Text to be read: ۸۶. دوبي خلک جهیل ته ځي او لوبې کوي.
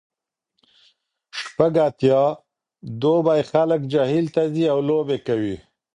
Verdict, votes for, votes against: rejected, 0, 2